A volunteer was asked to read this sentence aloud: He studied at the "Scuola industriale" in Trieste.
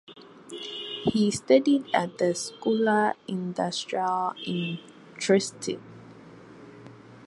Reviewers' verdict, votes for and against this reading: rejected, 0, 2